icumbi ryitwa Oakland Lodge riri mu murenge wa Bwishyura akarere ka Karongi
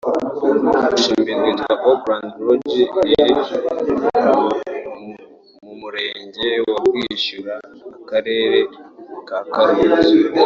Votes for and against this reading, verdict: 1, 2, rejected